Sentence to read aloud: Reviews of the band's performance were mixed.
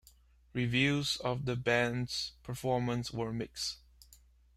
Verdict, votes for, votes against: accepted, 2, 1